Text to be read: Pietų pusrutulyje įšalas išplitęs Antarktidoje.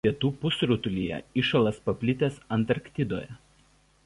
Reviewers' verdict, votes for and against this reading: rejected, 0, 2